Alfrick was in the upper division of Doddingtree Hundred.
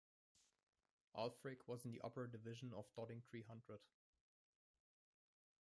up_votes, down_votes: 0, 2